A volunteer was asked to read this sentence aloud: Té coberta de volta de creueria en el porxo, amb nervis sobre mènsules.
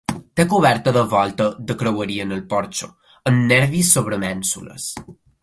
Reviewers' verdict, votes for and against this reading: accepted, 2, 1